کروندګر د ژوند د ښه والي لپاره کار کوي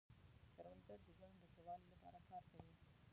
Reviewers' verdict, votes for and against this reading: rejected, 0, 2